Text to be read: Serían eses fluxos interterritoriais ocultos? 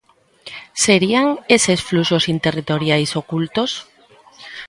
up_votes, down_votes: 0, 2